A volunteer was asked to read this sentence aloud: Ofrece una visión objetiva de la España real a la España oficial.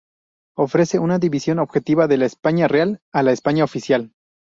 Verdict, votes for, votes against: rejected, 0, 2